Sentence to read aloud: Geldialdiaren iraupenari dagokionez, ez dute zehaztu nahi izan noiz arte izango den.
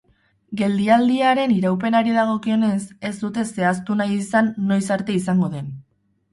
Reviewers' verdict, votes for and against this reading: rejected, 2, 2